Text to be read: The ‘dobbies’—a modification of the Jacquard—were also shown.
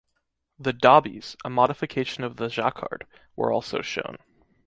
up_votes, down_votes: 2, 0